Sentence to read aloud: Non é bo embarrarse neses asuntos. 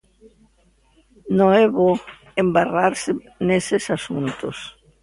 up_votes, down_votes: 2, 0